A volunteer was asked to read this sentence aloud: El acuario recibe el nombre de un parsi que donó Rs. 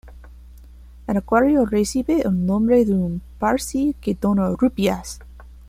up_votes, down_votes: 1, 2